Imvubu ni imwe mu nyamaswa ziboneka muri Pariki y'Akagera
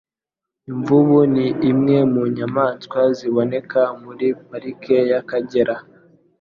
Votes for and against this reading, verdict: 2, 0, accepted